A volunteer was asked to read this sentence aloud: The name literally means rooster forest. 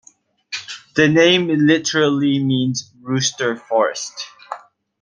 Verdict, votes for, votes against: accepted, 2, 0